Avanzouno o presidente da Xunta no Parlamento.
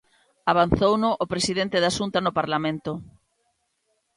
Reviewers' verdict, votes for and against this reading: accepted, 4, 0